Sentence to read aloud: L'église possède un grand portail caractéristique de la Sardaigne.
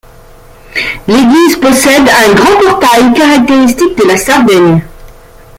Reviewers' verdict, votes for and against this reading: accepted, 2, 0